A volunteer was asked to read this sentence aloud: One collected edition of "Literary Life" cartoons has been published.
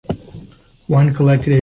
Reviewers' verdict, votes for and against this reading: rejected, 0, 2